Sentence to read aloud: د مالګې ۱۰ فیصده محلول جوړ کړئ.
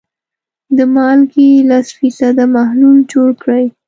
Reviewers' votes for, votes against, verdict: 0, 2, rejected